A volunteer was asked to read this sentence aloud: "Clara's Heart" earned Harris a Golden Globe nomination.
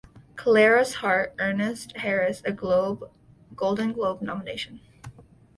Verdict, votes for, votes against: rejected, 1, 2